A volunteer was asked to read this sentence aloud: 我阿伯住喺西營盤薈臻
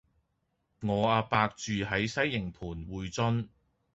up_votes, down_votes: 2, 0